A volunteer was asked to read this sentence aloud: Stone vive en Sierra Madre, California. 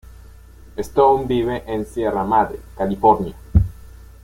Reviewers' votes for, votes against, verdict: 2, 0, accepted